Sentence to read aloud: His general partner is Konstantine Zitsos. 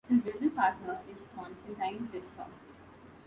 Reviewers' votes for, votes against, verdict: 0, 2, rejected